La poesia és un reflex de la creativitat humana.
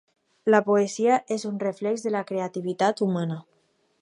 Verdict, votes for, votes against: accepted, 4, 0